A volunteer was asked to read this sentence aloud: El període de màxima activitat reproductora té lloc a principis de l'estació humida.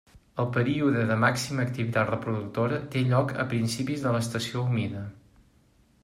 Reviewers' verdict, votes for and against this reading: accepted, 2, 0